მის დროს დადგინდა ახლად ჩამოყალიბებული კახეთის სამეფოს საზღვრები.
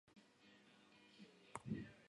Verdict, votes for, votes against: accepted, 2, 1